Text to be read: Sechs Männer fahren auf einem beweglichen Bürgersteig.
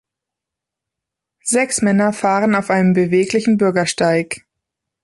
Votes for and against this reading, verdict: 2, 0, accepted